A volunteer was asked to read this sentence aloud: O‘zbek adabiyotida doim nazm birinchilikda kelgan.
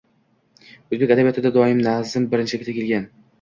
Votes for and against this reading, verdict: 0, 3, rejected